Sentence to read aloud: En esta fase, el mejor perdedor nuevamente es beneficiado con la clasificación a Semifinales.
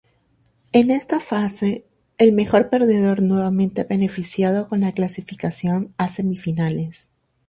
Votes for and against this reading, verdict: 2, 0, accepted